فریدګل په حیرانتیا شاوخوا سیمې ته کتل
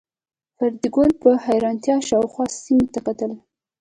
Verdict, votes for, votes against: rejected, 1, 2